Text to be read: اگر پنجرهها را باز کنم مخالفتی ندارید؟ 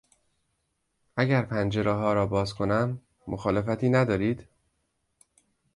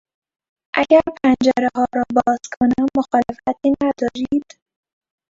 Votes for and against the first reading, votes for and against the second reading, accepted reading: 2, 0, 0, 2, first